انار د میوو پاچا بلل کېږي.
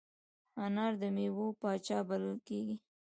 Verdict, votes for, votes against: rejected, 0, 2